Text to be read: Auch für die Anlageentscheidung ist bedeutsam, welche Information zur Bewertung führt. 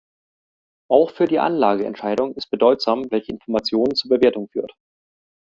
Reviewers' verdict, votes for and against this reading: accepted, 2, 0